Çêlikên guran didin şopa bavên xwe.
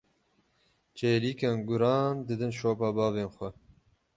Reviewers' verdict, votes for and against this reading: rejected, 0, 6